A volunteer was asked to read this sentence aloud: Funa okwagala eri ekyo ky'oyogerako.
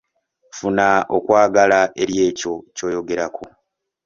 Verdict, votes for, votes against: accepted, 2, 0